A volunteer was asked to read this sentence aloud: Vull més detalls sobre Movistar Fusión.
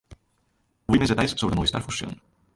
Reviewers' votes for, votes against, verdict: 0, 3, rejected